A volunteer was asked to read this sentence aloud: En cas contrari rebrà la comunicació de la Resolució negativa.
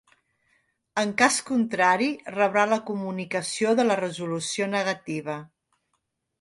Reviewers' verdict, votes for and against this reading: accepted, 3, 0